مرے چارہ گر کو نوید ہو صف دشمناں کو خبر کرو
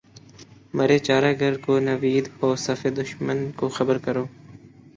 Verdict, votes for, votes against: accepted, 10, 1